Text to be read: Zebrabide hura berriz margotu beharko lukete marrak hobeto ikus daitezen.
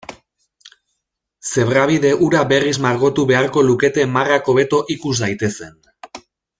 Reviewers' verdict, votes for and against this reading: accepted, 2, 0